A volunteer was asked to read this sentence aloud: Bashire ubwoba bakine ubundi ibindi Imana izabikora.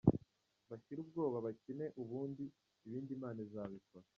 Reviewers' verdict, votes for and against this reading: rejected, 0, 2